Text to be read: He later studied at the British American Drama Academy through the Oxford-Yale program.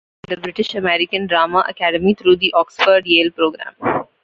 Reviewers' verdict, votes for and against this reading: rejected, 0, 2